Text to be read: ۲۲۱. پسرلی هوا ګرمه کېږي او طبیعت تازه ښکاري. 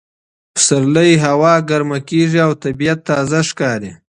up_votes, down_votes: 0, 2